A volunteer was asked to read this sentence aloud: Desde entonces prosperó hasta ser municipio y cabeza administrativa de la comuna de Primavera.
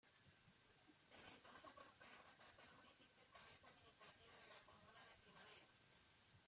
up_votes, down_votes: 0, 2